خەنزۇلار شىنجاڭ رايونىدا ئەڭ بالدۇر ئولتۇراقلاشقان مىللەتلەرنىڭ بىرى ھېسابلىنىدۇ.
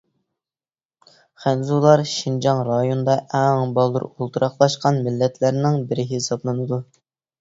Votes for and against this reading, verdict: 2, 0, accepted